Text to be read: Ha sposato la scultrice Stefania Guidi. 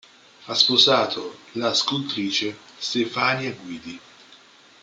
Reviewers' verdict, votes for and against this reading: accepted, 2, 0